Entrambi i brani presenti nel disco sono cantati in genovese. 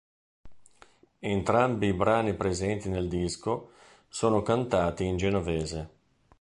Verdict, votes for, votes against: accepted, 2, 0